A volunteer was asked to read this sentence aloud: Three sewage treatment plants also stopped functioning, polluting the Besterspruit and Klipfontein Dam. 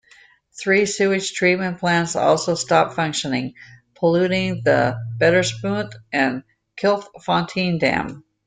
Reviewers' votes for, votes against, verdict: 1, 2, rejected